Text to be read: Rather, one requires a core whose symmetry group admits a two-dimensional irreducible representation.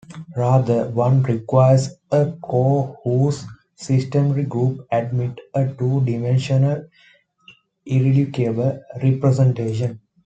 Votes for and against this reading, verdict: 1, 2, rejected